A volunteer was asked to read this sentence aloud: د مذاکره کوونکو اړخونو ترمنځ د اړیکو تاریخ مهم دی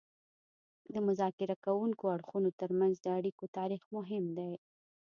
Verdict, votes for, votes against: accepted, 2, 0